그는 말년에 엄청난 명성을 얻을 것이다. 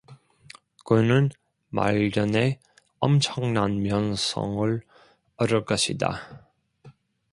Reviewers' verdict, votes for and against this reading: accepted, 2, 0